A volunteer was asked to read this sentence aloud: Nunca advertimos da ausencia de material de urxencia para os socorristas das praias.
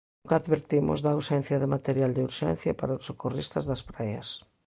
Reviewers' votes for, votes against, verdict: 0, 2, rejected